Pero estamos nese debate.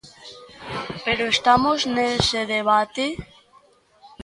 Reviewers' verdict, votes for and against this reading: rejected, 0, 2